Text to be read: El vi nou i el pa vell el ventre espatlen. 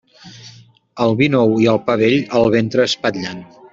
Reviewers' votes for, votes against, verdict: 2, 0, accepted